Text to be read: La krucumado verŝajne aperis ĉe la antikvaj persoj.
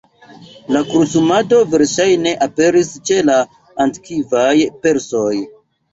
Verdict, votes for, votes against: rejected, 1, 2